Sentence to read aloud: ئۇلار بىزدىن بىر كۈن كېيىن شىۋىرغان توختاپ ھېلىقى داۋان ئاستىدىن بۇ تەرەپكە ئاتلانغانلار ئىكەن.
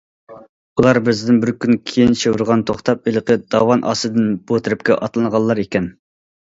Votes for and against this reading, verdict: 2, 0, accepted